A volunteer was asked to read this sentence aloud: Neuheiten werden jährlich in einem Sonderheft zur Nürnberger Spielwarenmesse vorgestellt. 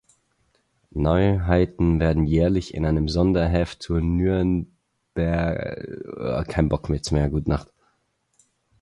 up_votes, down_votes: 0, 4